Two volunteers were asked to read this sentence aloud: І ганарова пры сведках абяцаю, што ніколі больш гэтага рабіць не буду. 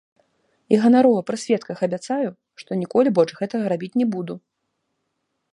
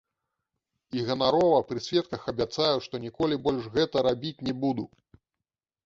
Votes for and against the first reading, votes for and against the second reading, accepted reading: 2, 1, 0, 2, first